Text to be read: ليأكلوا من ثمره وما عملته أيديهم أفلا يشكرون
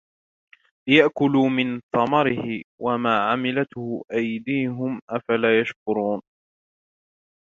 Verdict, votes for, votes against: rejected, 1, 2